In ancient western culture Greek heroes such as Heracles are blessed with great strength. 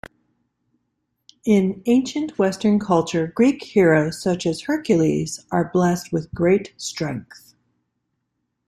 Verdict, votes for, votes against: rejected, 1, 2